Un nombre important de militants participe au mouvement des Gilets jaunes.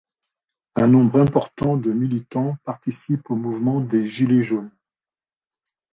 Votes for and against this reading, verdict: 3, 0, accepted